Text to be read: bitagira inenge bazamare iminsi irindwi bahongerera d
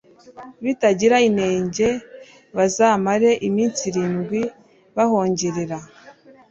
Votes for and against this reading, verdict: 2, 0, accepted